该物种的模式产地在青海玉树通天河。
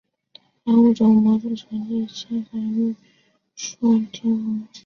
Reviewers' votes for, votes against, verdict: 1, 2, rejected